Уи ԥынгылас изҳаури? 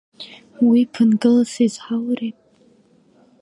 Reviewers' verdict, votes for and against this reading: rejected, 1, 2